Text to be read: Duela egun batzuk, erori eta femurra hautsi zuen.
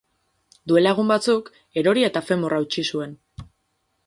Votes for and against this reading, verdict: 6, 0, accepted